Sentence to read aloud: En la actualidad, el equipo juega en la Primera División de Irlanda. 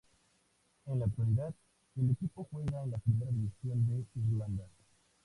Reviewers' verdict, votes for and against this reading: rejected, 0, 2